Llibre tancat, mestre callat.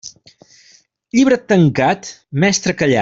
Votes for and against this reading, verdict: 3, 0, accepted